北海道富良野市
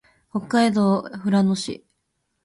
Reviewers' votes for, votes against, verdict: 4, 2, accepted